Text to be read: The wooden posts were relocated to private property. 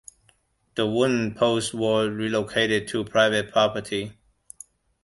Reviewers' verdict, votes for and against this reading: accepted, 2, 0